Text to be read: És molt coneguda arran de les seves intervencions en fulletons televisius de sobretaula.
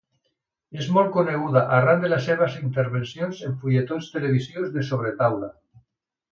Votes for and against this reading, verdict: 3, 0, accepted